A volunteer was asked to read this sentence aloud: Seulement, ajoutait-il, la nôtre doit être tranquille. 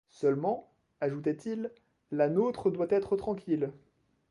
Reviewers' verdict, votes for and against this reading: accepted, 2, 0